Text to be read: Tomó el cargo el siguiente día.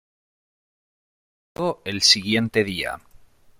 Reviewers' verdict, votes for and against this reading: rejected, 1, 2